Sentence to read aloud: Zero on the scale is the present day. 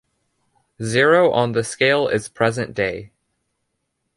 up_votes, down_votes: 0, 2